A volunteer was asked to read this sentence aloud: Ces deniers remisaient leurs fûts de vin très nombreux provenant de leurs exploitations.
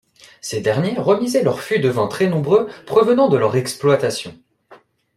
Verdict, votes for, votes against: accepted, 2, 1